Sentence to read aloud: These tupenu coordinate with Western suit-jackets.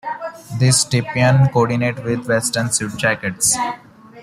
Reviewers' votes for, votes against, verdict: 0, 2, rejected